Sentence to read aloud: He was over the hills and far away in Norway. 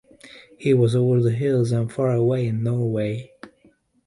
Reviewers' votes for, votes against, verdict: 2, 0, accepted